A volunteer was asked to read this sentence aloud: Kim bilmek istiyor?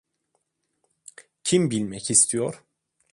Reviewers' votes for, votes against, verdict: 2, 0, accepted